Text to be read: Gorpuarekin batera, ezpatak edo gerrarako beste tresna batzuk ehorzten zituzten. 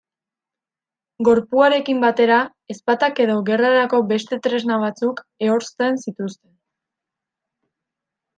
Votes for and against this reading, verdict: 2, 1, accepted